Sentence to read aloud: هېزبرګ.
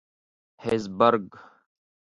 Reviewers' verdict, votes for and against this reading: accepted, 2, 0